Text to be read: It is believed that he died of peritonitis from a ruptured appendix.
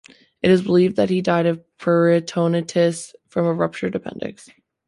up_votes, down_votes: 1, 2